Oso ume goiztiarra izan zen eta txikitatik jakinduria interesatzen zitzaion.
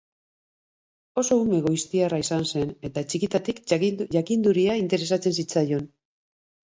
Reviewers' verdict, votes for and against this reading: rejected, 0, 3